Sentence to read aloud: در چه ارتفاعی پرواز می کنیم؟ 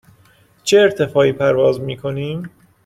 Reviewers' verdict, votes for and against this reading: rejected, 1, 2